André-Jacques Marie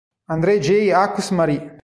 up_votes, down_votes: 1, 2